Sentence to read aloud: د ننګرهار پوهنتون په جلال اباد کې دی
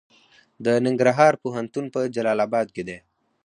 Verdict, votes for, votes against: accepted, 4, 0